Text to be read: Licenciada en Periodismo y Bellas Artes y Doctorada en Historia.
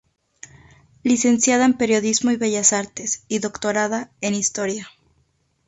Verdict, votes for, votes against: rejected, 2, 2